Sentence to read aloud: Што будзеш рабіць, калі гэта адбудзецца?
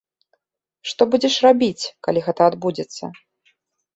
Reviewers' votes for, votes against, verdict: 2, 0, accepted